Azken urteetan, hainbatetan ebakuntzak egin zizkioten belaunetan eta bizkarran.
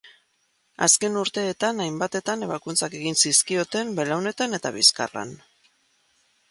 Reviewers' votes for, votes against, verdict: 2, 0, accepted